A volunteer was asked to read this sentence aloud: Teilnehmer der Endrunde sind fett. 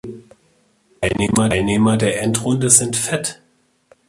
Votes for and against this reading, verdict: 0, 2, rejected